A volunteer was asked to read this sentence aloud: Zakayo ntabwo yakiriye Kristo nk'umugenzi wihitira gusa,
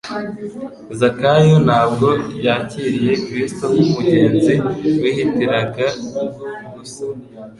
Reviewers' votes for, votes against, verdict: 2, 1, accepted